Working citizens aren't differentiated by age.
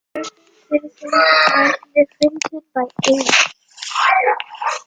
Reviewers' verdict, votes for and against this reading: rejected, 0, 2